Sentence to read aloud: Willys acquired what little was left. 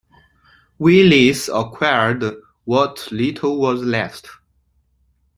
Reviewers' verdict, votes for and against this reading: accepted, 2, 0